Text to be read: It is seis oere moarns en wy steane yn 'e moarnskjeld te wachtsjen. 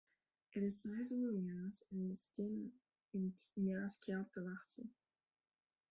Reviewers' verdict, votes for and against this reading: rejected, 0, 2